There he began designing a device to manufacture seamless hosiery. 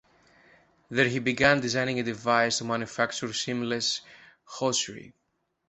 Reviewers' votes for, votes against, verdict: 0, 2, rejected